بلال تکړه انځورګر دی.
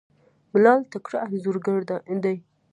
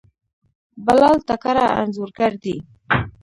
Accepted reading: first